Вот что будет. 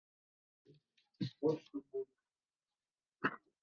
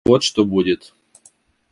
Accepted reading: second